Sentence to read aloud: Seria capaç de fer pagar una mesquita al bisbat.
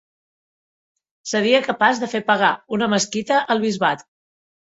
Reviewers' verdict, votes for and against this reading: accepted, 2, 0